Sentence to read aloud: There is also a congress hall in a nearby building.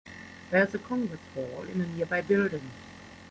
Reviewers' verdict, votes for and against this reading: rejected, 0, 3